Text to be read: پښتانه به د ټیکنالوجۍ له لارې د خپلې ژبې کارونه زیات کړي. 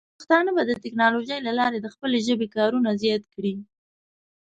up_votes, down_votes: 2, 0